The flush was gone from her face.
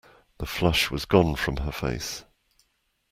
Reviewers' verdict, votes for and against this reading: accepted, 2, 0